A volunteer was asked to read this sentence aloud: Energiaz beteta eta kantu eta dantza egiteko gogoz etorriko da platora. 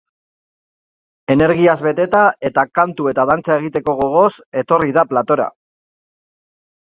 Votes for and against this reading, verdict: 0, 2, rejected